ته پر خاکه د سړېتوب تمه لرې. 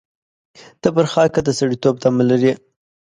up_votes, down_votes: 2, 0